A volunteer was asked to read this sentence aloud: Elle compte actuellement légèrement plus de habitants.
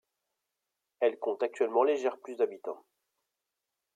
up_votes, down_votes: 0, 2